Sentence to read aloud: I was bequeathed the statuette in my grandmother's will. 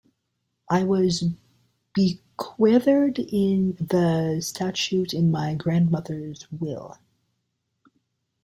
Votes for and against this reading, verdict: 0, 2, rejected